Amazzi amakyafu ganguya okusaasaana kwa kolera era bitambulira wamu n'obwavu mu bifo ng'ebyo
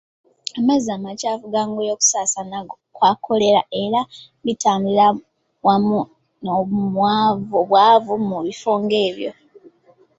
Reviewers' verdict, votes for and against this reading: rejected, 1, 2